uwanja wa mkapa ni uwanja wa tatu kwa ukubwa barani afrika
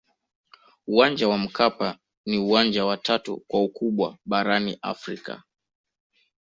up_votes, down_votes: 1, 2